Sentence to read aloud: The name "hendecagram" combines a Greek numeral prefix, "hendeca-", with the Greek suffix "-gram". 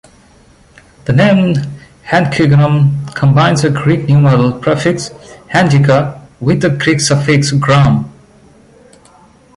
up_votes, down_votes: 1, 2